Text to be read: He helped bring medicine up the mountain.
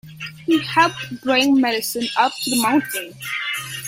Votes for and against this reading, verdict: 0, 2, rejected